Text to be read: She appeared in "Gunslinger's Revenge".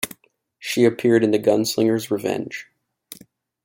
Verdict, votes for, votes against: accepted, 3, 0